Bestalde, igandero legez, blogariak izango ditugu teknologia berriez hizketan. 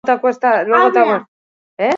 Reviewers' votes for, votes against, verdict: 0, 4, rejected